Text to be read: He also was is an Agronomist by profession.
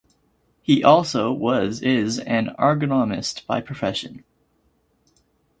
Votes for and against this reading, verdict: 2, 2, rejected